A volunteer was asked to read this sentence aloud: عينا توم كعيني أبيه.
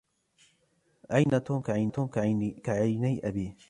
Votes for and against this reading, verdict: 1, 2, rejected